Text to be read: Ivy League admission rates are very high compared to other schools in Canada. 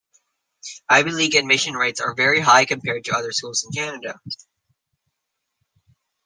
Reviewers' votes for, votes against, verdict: 0, 2, rejected